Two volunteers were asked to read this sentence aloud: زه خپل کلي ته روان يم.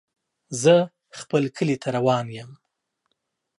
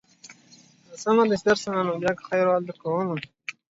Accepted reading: first